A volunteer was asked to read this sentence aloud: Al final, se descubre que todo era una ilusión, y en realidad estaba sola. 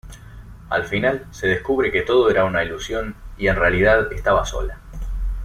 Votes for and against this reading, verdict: 2, 0, accepted